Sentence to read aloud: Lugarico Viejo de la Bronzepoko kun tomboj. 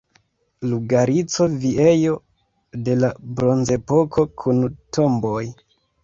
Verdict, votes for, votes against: rejected, 1, 2